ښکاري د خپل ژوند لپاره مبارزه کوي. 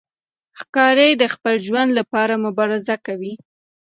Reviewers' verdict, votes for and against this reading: accepted, 3, 0